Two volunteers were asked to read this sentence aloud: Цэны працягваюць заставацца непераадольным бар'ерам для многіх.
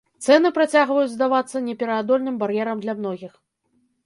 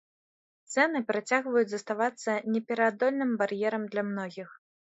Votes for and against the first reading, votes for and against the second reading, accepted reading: 0, 2, 3, 0, second